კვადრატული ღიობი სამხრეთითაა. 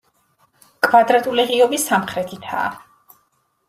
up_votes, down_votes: 2, 0